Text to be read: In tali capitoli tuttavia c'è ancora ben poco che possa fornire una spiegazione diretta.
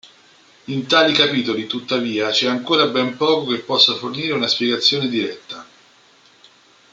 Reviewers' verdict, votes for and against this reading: accepted, 2, 0